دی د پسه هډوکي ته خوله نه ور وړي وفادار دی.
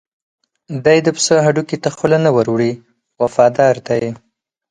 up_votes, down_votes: 4, 0